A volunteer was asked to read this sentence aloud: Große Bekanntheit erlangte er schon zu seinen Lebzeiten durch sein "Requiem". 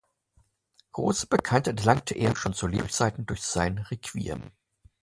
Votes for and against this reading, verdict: 0, 2, rejected